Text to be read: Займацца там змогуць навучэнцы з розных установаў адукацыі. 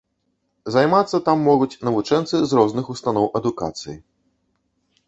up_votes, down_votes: 0, 2